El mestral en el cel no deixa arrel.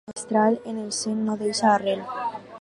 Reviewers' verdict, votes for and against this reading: rejected, 0, 4